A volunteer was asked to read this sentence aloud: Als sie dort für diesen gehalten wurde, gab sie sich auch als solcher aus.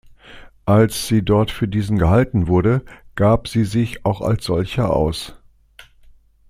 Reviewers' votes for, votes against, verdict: 2, 0, accepted